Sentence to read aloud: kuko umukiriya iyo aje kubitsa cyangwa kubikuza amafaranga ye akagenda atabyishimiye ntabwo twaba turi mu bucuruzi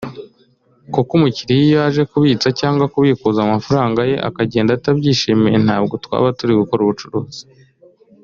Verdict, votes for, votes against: rejected, 0, 2